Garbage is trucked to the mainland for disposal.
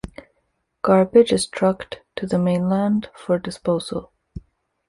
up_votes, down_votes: 2, 0